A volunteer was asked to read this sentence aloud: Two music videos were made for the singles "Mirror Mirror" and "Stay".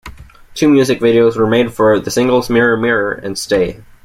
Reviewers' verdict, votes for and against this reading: accepted, 2, 0